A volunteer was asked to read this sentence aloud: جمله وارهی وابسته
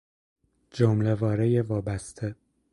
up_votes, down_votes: 4, 0